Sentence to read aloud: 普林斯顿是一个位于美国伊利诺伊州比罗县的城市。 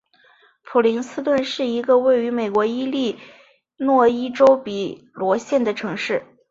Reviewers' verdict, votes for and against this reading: accepted, 2, 1